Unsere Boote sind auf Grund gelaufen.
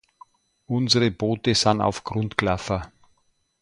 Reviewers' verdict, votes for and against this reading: rejected, 1, 2